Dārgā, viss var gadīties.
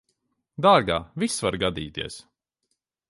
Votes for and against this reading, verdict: 2, 0, accepted